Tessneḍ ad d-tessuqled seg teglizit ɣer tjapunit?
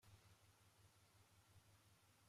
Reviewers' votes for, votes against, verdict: 0, 2, rejected